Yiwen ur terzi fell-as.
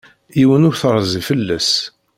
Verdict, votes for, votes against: accepted, 2, 0